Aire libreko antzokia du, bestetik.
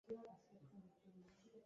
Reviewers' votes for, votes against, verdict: 0, 2, rejected